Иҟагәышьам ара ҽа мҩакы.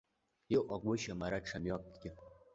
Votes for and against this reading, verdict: 2, 0, accepted